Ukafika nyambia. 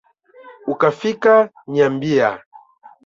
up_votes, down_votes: 0, 2